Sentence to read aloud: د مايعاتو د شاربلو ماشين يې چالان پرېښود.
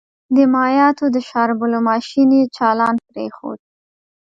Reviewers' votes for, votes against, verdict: 2, 0, accepted